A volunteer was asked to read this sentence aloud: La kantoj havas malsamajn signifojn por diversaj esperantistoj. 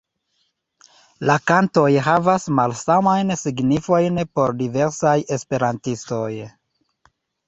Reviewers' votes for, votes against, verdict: 2, 0, accepted